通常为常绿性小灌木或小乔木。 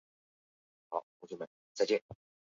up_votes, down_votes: 3, 1